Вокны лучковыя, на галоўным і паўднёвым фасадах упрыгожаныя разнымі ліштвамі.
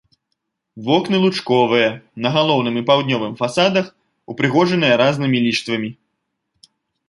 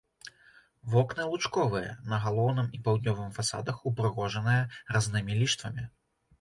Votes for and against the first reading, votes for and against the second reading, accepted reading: 2, 0, 1, 2, first